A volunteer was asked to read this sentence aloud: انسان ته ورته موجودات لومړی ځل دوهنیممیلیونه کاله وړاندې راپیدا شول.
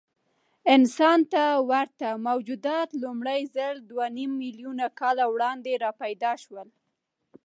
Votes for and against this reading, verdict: 0, 2, rejected